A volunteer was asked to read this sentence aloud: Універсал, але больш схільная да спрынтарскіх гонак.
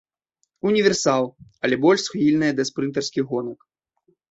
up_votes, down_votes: 3, 0